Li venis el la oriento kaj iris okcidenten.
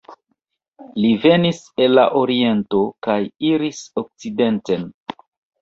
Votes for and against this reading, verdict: 2, 1, accepted